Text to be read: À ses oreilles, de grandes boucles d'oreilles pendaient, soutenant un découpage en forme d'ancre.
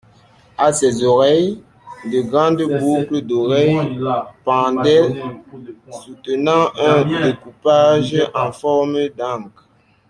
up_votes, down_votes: 1, 2